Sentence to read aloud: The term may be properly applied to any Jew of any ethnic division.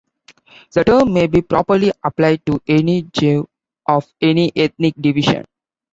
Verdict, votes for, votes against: accepted, 2, 0